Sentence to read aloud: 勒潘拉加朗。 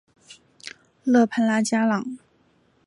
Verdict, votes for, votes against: accepted, 2, 1